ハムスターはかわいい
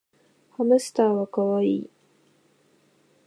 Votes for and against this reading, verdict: 2, 0, accepted